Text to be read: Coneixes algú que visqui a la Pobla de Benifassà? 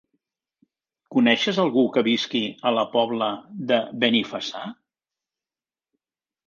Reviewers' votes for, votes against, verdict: 3, 0, accepted